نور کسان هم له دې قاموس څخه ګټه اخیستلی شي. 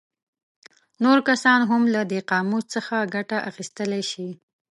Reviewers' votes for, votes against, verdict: 2, 0, accepted